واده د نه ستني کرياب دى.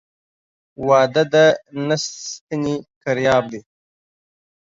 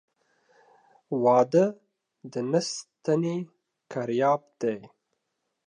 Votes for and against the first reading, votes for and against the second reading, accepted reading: 1, 2, 2, 0, second